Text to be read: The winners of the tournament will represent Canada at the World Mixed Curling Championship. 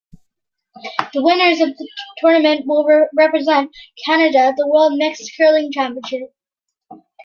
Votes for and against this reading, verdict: 0, 2, rejected